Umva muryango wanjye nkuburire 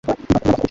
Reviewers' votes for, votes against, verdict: 0, 2, rejected